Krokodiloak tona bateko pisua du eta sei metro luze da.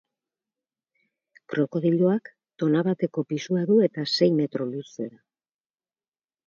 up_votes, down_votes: 2, 0